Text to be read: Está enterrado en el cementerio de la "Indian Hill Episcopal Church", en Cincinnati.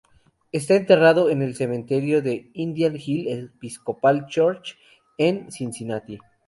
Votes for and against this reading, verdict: 0, 2, rejected